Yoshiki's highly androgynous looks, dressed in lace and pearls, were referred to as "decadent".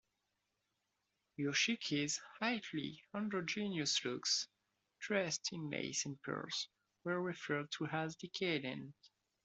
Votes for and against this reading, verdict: 0, 2, rejected